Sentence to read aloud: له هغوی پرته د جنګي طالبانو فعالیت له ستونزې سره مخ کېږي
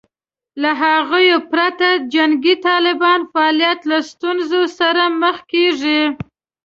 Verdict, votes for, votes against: accepted, 2, 1